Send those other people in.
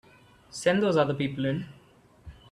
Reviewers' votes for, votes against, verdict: 3, 0, accepted